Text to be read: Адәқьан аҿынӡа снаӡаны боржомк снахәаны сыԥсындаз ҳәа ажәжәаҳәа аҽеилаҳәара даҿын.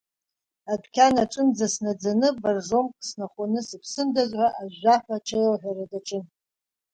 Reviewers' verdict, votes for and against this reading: accepted, 2, 0